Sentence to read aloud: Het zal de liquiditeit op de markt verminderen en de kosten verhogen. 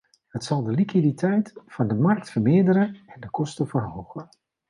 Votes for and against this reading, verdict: 0, 2, rejected